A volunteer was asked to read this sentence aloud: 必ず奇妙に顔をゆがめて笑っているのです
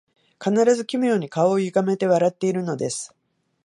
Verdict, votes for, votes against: rejected, 0, 2